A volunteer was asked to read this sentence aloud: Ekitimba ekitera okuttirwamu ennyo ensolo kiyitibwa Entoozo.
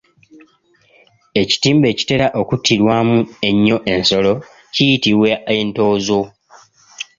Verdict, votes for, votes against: accepted, 2, 0